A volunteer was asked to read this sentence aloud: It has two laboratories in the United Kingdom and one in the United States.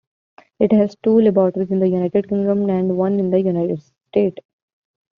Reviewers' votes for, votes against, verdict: 0, 2, rejected